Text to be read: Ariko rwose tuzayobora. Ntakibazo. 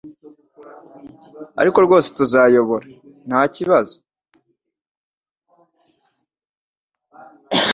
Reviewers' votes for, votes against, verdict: 2, 0, accepted